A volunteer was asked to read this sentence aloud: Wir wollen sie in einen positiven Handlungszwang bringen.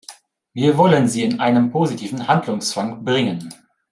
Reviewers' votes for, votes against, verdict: 2, 0, accepted